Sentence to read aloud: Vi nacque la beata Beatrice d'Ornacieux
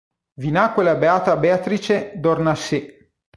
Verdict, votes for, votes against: accepted, 3, 0